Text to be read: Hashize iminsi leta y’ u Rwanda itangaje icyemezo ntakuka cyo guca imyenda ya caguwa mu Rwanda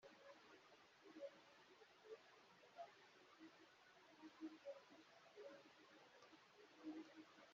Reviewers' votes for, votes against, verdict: 0, 3, rejected